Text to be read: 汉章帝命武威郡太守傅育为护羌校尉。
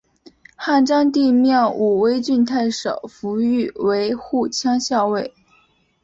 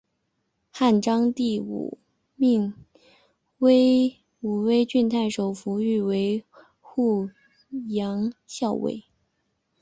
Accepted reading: first